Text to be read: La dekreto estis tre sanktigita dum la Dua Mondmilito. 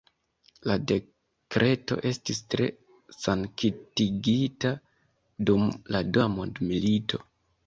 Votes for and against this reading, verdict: 0, 2, rejected